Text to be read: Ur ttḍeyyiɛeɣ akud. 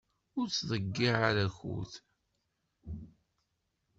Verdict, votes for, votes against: accepted, 2, 0